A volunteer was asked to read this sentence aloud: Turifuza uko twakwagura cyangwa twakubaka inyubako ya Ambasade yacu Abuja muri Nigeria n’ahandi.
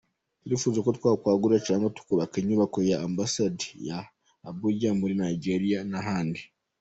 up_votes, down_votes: 1, 2